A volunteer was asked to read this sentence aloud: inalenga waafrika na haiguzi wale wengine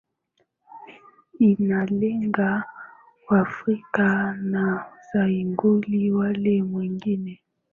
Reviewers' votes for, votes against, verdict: 6, 3, accepted